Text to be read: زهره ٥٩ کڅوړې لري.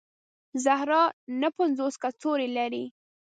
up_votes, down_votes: 0, 2